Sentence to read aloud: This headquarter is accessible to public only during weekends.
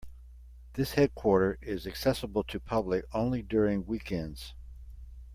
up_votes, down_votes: 2, 0